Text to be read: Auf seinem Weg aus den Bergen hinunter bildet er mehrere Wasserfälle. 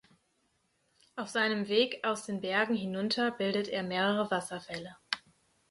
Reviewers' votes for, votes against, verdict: 4, 0, accepted